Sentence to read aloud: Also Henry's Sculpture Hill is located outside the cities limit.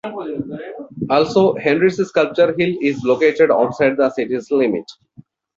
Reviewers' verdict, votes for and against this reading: rejected, 0, 2